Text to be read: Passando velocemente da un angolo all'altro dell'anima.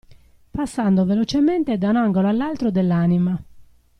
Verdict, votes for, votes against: accepted, 2, 0